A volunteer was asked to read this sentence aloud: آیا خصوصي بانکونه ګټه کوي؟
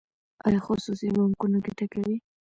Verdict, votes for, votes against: rejected, 0, 2